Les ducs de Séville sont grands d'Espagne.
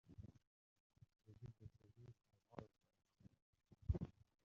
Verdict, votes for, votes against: rejected, 1, 2